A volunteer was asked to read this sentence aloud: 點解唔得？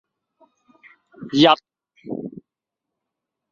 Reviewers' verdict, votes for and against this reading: rejected, 0, 2